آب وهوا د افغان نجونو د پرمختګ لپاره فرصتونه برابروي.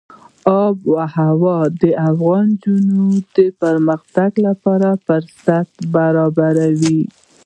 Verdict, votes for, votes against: accepted, 2, 1